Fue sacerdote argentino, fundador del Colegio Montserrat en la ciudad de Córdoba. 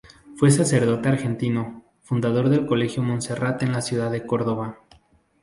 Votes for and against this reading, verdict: 2, 0, accepted